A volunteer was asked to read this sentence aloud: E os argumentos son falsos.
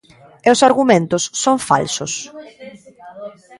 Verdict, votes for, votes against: rejected, 0, 2